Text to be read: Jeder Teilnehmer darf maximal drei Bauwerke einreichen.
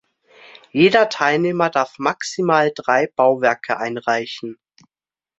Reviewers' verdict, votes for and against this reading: accepted, 2, 0